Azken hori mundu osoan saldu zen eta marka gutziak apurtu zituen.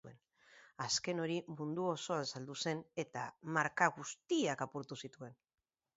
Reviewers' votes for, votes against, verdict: 4, 0, accepted